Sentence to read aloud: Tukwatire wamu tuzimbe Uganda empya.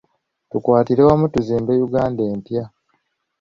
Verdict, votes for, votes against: accepted, 2, 0